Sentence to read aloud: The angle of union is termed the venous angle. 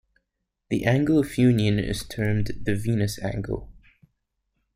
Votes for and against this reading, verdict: 2, 0, accepted